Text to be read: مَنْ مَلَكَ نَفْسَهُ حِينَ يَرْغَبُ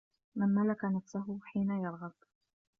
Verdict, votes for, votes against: accepted, 2, 0